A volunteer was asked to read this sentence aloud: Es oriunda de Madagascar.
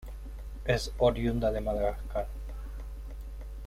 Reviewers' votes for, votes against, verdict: 2, 0, accepted